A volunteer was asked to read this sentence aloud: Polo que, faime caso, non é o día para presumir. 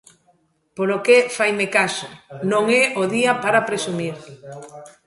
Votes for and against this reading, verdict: 0, 2, rejected